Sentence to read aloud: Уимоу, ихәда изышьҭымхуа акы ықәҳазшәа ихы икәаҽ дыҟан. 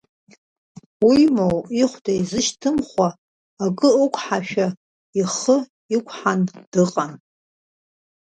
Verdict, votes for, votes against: rejected, 1, 2